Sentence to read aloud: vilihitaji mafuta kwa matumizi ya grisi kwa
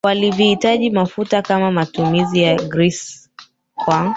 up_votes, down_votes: 2, 0